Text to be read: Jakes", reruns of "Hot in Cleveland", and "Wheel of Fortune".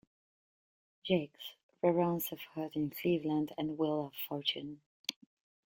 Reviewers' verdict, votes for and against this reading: accepted, 2, 1